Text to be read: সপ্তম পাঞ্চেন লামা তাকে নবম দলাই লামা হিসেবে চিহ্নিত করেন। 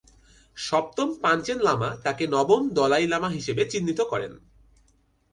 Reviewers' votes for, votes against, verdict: 2, 0, accepted